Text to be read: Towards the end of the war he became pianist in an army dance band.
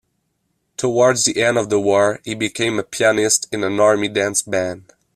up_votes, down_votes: 2, 1